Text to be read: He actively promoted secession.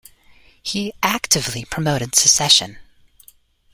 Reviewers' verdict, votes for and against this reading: accepted, 2, 0